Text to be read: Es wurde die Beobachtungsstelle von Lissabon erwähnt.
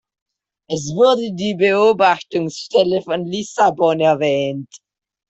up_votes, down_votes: 2, 0